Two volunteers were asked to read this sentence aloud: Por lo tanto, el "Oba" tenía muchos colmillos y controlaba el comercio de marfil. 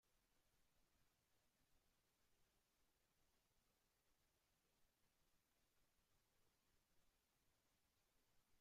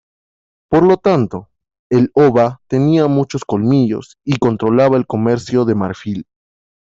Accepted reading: second